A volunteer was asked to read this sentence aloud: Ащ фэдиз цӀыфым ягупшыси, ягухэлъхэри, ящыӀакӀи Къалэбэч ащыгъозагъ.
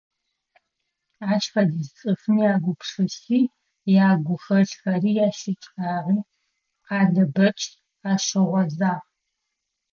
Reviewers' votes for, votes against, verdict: 1, 2, rejected